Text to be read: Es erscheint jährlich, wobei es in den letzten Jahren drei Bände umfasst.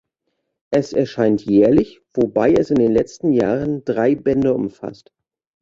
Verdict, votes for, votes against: accepted, 2, 0